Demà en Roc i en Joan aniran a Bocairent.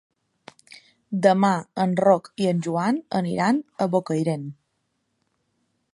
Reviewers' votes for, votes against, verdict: 4, 0, accepted